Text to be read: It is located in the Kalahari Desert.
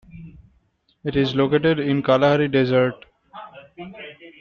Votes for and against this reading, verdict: 0, 2, rejected